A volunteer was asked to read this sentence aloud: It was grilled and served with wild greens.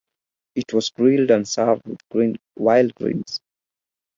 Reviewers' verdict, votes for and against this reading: rejected, 0, 4